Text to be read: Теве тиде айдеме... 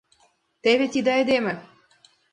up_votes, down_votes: 2, 0